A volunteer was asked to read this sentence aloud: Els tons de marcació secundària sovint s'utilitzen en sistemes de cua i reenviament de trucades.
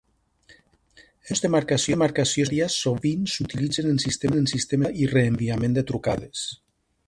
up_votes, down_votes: 0, 2